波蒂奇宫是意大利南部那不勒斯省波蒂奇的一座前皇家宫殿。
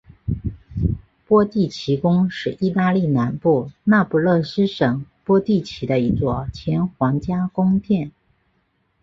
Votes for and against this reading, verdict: 8, 1, accepted